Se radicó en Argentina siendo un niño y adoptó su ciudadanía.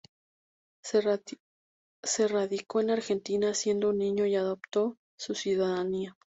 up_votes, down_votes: 0, 2